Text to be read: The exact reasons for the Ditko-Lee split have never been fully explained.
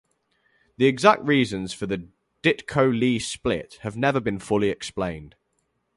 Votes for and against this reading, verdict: 2, 0, accepted